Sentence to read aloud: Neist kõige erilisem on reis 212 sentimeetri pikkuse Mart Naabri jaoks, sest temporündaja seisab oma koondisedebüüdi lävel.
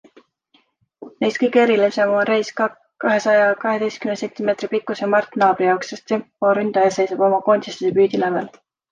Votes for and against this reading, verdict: 0, 2, rejected